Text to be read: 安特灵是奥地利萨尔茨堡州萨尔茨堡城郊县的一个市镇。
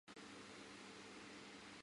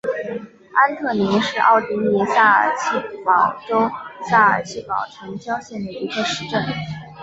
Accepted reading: second